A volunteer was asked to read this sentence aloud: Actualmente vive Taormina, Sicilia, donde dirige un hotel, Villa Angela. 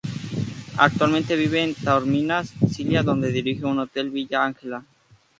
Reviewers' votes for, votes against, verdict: 2, 4, rejected